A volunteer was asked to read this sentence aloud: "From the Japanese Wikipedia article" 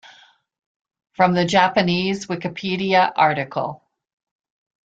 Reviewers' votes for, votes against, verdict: 3, 0, accepted